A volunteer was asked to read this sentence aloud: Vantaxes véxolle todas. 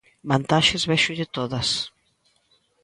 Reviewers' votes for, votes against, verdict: 2, 0, accepted